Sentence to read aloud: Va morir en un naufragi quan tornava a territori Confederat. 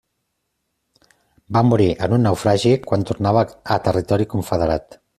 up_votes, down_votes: 3, 0